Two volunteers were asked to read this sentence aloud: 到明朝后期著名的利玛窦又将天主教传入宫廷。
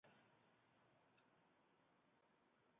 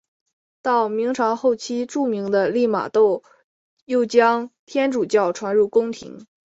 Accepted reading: second